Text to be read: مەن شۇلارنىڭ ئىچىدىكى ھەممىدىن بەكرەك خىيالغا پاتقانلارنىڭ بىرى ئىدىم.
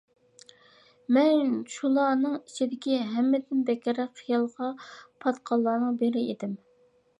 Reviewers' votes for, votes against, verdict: 2, 0, accepted